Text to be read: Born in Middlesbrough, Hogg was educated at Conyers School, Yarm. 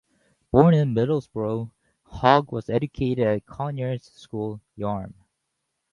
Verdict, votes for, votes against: rejected, 2, 4